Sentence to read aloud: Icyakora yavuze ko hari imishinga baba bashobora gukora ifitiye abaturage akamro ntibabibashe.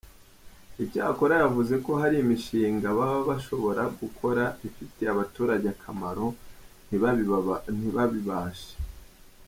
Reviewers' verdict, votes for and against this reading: rejected, 0, 2